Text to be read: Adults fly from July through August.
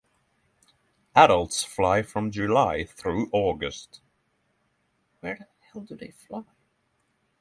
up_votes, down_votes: 6, 0